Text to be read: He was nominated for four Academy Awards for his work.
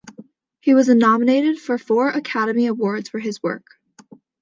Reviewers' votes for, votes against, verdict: 2, 0, accepted